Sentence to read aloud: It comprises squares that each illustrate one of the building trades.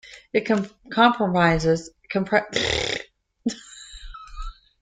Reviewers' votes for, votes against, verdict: 0, 2, rejected